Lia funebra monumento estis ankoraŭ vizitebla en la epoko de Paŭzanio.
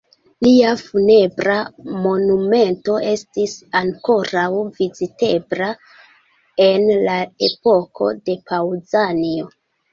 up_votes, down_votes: 2, 1